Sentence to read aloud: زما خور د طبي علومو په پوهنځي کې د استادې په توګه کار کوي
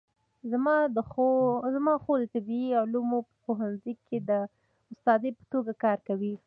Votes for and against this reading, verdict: 2, 0, accepted